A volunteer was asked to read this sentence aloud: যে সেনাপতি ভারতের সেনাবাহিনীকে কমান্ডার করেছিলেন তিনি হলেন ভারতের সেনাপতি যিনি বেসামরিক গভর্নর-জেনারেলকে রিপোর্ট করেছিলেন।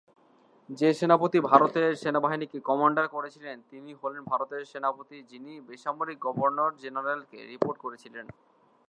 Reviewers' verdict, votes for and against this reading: rejected, 2, 2